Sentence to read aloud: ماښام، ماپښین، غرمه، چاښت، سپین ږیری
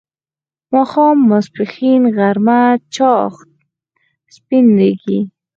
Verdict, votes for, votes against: rejected, 0, 4